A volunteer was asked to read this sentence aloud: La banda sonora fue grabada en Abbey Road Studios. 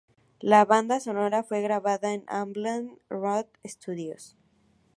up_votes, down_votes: 2, 2